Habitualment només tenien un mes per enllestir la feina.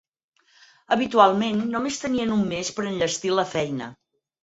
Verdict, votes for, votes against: accepted, 4, 0